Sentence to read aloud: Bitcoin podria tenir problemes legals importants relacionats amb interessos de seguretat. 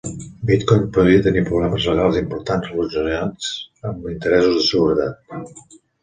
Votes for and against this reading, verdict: 1, 2, rejected